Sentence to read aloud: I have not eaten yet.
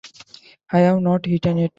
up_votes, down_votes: 2, 0